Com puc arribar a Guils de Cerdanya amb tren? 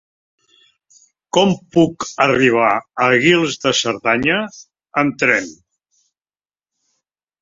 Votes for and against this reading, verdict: 0, 2, rejected